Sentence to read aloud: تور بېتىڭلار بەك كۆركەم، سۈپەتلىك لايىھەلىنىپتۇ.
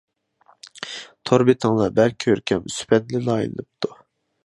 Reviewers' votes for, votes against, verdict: 1, 2, rejected